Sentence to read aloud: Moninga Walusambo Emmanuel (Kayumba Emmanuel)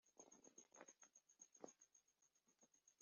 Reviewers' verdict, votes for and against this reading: rejected, 0, 2